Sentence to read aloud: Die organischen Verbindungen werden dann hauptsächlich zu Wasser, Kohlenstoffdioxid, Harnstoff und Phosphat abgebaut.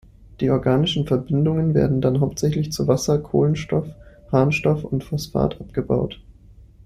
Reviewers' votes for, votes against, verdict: 0, 3, rejected